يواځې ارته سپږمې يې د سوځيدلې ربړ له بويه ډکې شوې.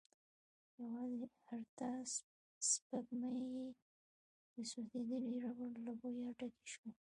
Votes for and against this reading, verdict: 2, 0, accepted